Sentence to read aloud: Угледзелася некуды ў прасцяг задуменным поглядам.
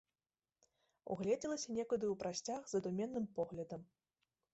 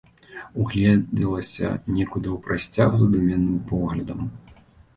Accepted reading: second